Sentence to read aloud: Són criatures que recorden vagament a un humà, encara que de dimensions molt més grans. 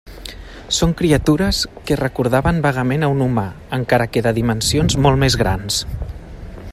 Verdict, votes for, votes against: rejected, 0, 2